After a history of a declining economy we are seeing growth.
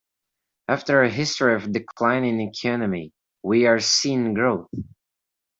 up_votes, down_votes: 2, 1